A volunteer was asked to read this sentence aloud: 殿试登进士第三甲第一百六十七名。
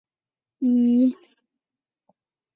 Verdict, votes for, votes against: rejected, 0, 8